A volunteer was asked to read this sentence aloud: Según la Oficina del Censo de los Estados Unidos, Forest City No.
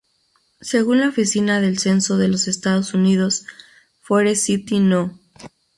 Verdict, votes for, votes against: rejected, 0, 2